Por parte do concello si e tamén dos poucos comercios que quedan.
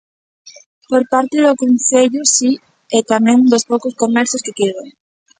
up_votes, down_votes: 1, 2